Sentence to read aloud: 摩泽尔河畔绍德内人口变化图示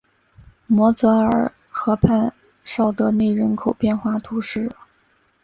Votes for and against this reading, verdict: 8, 0, accepted